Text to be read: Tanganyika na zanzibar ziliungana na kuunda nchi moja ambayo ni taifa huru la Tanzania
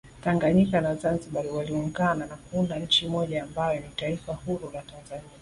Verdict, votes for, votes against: accepted, 2, 0